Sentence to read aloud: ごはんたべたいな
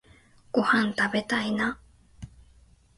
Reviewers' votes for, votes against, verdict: 2, 1, accepted